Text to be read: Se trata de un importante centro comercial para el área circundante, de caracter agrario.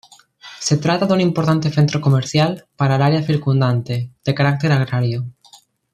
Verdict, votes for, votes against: accepted, 2, 1